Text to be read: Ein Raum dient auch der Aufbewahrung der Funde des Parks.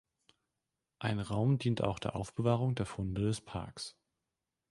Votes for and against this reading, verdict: 2, 0, accepted